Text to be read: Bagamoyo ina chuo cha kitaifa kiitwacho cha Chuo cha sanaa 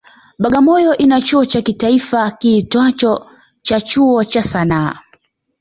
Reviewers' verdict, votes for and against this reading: accepted, 2, 1